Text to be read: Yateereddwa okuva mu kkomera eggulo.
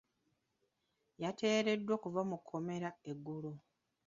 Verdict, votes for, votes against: rejected, 3, 4